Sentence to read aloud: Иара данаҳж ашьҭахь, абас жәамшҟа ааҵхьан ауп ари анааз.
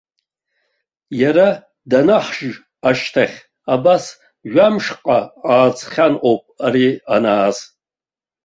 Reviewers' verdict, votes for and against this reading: accepted, 2, 1